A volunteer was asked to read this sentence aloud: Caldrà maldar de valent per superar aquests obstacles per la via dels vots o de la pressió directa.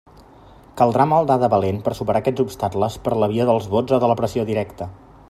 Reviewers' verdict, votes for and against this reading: accepted, 2, 0